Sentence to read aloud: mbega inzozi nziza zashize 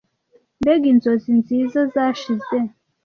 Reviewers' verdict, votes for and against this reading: accepted, 2, 0